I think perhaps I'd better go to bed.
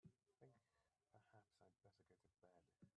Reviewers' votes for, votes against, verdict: 0, 3, rejected